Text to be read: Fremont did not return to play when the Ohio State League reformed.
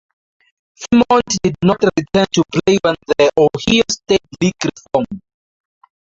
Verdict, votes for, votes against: rejected, 0, 10